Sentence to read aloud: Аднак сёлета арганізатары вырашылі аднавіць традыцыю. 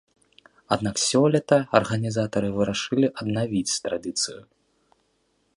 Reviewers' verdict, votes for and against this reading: accepted, 2, 1